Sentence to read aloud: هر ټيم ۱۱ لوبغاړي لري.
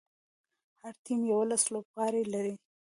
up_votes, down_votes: 0, 2